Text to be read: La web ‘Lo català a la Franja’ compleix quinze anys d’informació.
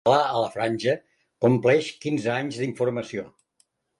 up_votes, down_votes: 0, 2